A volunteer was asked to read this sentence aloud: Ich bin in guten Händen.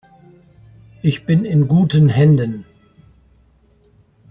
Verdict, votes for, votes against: accepted, 2, 0